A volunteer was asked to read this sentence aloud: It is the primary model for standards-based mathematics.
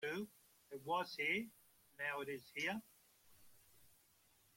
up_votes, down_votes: 0, 2